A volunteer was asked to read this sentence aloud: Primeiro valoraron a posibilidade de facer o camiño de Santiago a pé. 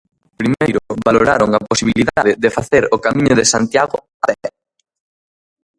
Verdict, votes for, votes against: rejected, 0, 2